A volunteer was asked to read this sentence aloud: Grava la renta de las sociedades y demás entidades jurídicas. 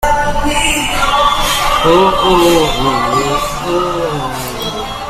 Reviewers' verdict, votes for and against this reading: rejected, 0, 2